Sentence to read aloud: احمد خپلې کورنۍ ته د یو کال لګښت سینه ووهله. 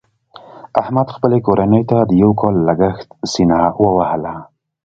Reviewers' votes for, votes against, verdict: 2, 0, accepted